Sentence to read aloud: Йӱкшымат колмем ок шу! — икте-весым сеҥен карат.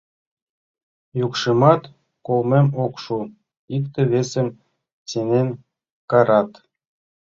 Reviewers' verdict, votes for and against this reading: rejected, 1, 2